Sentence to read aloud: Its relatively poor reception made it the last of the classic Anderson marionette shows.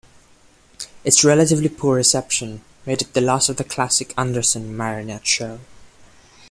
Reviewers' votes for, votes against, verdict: 1, 2, rejected